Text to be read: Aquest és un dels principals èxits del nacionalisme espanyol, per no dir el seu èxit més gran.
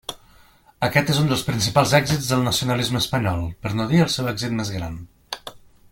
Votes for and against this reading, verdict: 2, 0, accepted